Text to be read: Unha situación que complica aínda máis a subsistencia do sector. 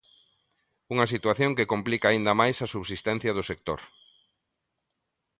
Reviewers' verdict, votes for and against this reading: accepted, 2, 0